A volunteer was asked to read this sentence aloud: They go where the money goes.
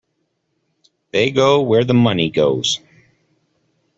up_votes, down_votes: 2, 0